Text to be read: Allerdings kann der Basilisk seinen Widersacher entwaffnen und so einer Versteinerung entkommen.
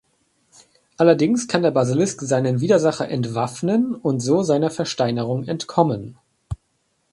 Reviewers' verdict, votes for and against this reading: rejected, 1, 2